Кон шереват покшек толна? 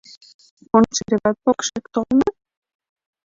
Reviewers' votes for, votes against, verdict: 0, 2, rejected